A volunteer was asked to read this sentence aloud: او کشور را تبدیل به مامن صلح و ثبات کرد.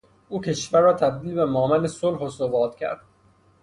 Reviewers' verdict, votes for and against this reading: rejected, 3, 3